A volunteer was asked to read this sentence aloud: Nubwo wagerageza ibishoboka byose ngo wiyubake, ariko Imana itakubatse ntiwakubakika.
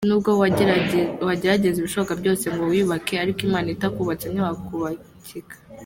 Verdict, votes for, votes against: rejected, 0, 2